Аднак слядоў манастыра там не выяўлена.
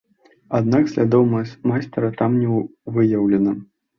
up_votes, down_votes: 0, 2